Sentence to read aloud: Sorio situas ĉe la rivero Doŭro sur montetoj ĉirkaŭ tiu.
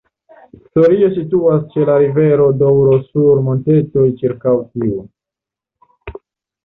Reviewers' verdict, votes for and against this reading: accepted, 2, 0